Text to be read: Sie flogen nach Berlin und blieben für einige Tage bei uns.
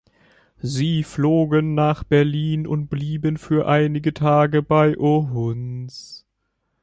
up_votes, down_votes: 1, 2